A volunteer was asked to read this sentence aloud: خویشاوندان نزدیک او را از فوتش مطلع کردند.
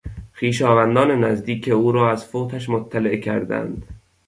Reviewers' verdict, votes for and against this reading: accepted, 2, 0